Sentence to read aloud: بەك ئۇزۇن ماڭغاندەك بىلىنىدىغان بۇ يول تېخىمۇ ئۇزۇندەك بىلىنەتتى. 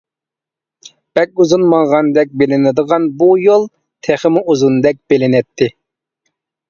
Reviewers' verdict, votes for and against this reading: accepted, 2, 0